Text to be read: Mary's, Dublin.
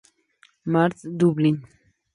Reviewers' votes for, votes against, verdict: 0, 2, rejected